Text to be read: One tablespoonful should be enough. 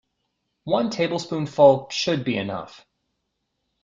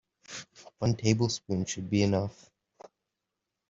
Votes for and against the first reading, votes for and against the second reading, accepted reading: 2, 0, 1, 2, first